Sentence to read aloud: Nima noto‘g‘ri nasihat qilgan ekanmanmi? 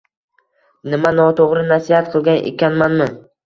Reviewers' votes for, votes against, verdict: 1, 2, rejected